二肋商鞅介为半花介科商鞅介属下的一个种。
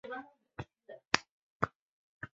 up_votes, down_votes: 1, 3